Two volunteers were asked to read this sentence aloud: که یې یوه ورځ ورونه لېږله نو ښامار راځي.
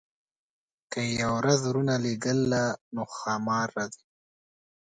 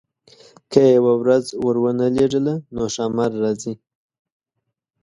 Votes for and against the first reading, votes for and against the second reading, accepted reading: 1, 2, 2, 0, second